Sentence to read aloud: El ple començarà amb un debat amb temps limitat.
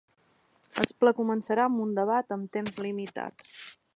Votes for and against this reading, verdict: 1, 2, rejected